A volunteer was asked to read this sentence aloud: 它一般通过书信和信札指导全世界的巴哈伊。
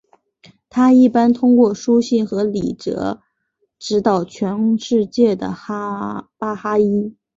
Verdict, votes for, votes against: rejected, 1, 2